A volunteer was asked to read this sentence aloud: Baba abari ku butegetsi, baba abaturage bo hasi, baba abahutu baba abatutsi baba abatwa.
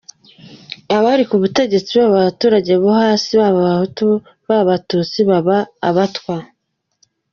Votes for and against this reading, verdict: 1, 2, rejected